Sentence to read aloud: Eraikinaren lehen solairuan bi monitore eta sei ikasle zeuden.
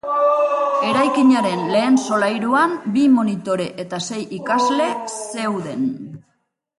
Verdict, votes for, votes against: rejected, 3, 3